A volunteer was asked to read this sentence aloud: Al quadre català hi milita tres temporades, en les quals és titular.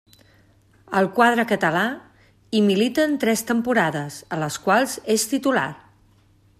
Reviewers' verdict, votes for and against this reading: rejected, 0, 2